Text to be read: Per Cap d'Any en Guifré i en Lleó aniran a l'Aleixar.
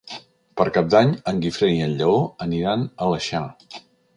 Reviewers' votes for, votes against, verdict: 0, 2, rejected